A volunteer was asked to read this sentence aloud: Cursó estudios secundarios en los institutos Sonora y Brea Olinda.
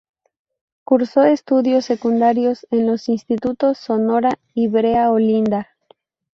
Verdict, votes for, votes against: accepted, 2, 0